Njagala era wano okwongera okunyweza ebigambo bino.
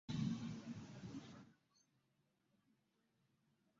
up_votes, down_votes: 0, 2